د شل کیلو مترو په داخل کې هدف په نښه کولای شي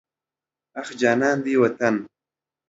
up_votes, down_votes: 0, 2